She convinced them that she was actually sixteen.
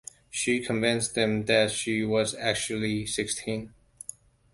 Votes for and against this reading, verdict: 1, 2, rejected